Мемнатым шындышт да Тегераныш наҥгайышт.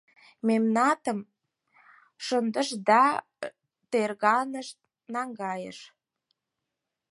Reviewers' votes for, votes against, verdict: 2, 4, rejected